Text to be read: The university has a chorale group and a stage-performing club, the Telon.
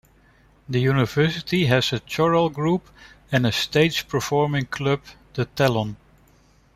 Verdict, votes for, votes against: rejected, 0, 3